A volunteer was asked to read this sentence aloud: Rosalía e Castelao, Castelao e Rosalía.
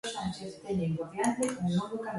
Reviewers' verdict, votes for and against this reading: rejected, 0, 2